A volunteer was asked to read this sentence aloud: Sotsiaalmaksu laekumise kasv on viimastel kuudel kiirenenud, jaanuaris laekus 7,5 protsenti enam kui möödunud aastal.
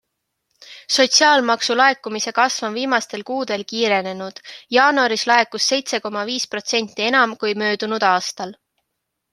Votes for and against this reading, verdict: 0, 2, rejected